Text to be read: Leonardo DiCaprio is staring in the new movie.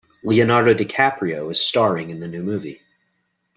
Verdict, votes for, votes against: accepted, 2, 1